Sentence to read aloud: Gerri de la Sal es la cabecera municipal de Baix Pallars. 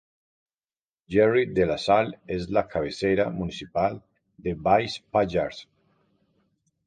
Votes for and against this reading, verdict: 2, 0, accepted